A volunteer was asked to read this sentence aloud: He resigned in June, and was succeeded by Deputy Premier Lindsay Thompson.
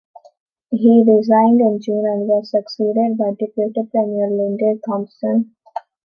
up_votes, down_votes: 0, 2